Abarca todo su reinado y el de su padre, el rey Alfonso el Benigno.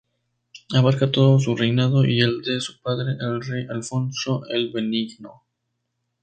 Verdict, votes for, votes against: accepted, 2, 0